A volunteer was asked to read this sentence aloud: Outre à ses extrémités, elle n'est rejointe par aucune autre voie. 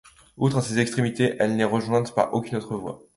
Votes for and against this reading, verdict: 2, 0, accepted